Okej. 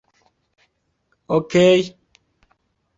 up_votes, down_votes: 3, 1